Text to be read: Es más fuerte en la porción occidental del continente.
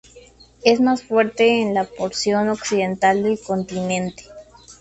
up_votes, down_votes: 2, 0